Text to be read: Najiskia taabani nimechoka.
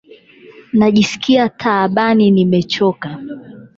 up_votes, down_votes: 8, 0